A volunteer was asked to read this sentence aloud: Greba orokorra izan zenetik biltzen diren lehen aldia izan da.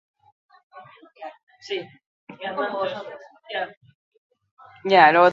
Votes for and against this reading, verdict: 0, 4, rejected